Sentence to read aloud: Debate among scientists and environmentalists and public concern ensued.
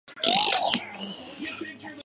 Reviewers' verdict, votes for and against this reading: rejected, 0, 2